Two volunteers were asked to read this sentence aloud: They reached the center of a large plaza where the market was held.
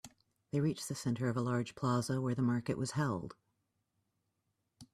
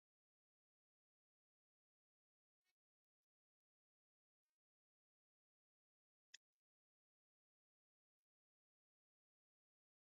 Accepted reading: first